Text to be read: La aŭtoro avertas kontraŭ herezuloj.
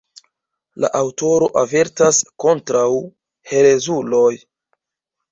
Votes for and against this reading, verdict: 2, 0, accepted